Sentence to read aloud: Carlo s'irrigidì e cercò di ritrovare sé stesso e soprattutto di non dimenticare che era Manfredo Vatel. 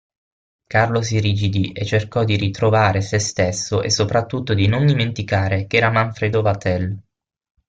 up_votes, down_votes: 6, 0